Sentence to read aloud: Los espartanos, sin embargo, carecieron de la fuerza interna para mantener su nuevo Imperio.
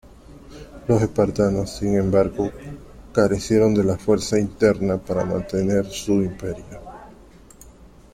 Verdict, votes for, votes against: rejected, 1, 3